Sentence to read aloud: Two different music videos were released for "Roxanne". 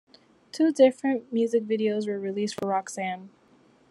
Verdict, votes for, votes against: accepted, 2, 0